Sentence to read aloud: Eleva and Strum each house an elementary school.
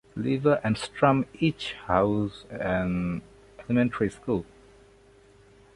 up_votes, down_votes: 2, 1